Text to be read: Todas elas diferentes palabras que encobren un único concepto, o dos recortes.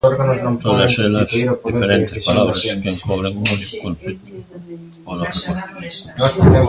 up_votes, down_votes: 0, 2